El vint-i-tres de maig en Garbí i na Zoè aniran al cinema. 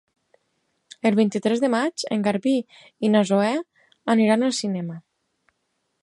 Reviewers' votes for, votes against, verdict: 6, 0, accepted